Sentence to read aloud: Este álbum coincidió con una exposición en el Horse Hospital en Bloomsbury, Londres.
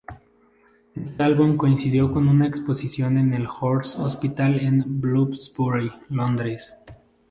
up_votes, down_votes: 0, 2